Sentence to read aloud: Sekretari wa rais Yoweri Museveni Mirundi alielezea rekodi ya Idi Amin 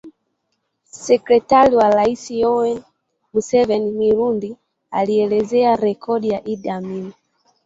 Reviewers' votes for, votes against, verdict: 1, 2, rejected